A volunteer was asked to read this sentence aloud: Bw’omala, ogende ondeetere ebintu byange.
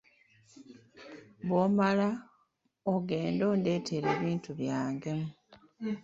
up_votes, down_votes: 2, 0